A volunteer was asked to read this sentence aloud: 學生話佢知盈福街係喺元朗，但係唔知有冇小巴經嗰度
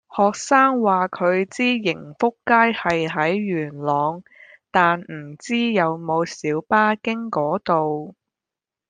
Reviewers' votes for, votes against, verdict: 1, 2, rejected